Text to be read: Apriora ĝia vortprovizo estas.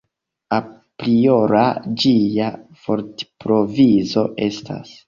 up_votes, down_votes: 2, 1